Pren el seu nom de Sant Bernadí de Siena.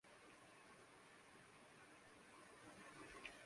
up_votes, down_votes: 0, 2